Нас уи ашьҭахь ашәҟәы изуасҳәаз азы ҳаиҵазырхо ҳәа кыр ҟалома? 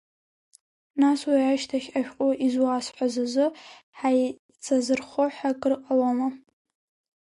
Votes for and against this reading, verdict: 0, 2, rejected